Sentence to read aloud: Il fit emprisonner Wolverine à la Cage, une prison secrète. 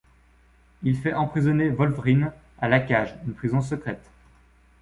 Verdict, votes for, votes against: rejected, 1, 2